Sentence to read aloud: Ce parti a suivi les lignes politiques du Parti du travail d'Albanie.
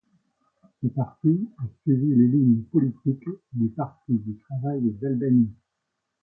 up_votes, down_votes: 0, 2